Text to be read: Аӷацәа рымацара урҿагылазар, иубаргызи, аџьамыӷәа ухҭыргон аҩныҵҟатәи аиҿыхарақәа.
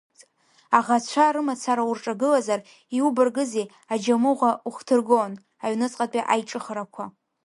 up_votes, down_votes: 2, 0